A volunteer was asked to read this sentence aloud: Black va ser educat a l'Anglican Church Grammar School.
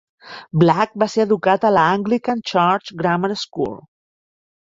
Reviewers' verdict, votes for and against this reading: accepted, 2, 0